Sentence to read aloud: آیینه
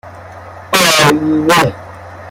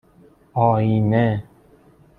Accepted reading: second